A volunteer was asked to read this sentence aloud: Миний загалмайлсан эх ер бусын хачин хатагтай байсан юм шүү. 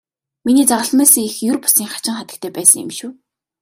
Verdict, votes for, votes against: accepted, 2, 0